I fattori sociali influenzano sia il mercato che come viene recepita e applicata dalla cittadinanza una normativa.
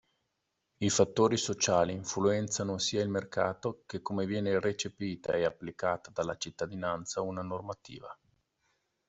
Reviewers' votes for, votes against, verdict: 2, 0, accepted